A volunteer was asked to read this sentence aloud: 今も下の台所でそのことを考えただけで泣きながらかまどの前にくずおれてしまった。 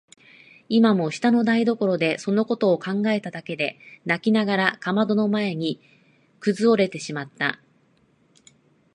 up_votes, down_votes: 2, 0